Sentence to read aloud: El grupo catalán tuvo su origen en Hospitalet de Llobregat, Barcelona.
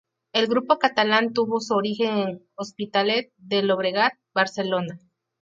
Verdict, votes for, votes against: accepted, 2, 0